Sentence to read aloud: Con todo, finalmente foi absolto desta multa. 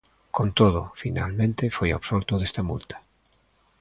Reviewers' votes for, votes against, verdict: 2, 0, accepted